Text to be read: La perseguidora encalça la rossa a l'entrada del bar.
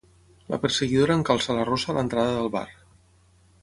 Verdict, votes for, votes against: accepted, 6, 3